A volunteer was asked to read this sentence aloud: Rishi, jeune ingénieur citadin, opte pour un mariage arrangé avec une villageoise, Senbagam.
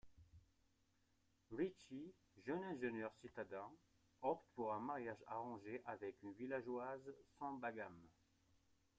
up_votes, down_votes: 2, 1